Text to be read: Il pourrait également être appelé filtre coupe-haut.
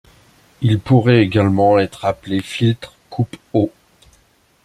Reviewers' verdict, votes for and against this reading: accepted, 2, 0